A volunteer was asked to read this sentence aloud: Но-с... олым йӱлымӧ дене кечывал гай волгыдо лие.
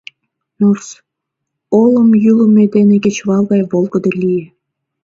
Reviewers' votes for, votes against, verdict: 2, 0, accepted